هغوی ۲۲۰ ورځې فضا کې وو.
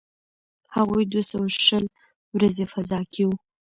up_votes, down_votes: 0, 2